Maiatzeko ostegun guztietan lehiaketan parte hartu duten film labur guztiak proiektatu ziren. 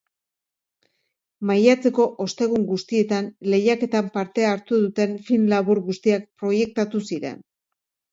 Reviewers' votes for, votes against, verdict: 2, 0, accepted